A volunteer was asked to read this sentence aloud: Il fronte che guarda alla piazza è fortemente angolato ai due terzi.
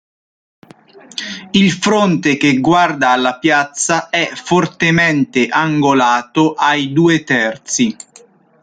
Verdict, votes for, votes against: accepted, 2, 0